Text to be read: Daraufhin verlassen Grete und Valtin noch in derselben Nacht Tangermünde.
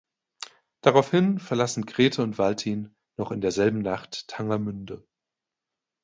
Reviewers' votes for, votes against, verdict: 2, 0, accepted